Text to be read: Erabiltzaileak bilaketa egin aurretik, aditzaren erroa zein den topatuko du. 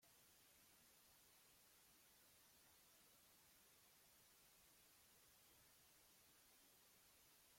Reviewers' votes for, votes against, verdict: 0, 2, rejected